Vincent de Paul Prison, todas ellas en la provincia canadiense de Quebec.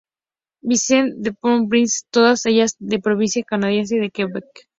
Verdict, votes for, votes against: rejected, 2, 2